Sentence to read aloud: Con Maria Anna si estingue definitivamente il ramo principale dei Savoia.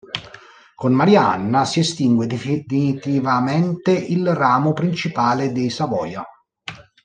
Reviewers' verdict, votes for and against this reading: rejected, 0, 2